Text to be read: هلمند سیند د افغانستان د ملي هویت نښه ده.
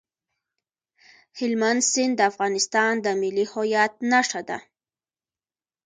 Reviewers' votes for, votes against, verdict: 0, 2, rejected